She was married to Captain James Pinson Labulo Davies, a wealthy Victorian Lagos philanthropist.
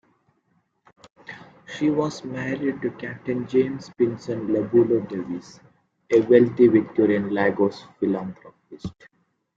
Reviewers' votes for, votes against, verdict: 2, 0, accepted